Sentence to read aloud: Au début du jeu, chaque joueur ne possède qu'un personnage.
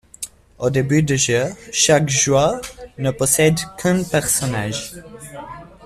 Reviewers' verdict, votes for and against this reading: accepted, 2, 0